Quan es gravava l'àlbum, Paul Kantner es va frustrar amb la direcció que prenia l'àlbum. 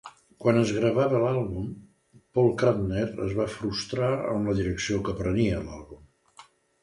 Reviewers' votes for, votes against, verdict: 2, 0, accepted